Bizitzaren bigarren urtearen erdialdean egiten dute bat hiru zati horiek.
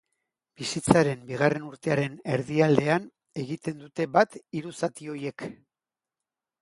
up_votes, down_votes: 1, 2